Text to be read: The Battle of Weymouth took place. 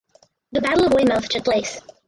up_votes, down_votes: 0, 4